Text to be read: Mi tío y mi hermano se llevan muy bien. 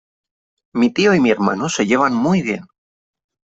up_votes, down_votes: 3, 0